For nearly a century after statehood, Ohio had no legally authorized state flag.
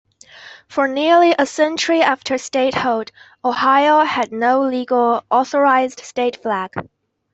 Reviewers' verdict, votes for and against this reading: rejected, 0, 2